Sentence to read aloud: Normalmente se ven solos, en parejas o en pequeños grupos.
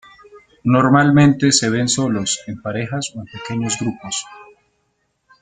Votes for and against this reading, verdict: 2, 0, accepted